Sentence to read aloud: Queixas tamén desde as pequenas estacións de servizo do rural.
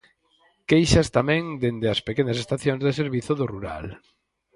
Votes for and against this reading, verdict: 2, 4, rejected